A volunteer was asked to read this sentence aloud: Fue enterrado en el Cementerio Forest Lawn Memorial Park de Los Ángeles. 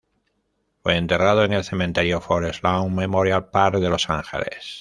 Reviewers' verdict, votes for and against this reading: accepted, 2, 0